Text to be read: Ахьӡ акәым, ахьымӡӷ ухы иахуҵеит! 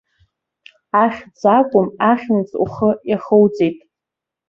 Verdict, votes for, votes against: accepted, 2, 0